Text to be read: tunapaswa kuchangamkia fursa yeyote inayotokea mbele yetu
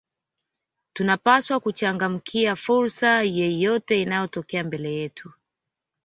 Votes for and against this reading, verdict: 2, 0, accepted